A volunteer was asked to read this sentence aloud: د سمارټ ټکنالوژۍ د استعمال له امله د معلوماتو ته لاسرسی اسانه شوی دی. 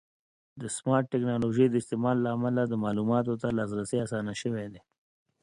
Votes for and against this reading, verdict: 2, 0, accepted